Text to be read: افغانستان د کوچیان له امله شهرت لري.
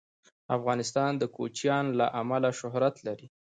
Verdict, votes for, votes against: accepted, 2, 0